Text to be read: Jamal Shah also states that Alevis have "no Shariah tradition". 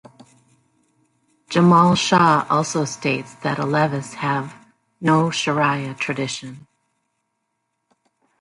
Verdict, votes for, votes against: accepted, 2, 0